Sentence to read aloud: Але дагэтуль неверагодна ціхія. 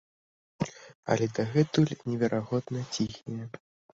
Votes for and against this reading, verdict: 2, 0, accepted